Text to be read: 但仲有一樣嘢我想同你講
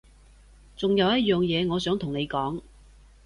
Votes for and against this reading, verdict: 0, 2, rejected